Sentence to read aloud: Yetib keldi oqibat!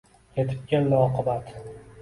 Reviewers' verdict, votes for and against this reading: rejected, 1, 2